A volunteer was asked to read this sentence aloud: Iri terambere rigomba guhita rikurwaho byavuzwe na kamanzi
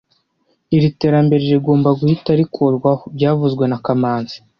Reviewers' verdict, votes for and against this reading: rejected, 0, 3